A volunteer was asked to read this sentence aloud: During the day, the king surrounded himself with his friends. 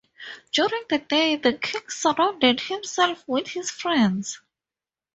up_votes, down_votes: 4, 0